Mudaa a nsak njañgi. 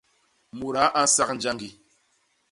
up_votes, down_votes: 2, 0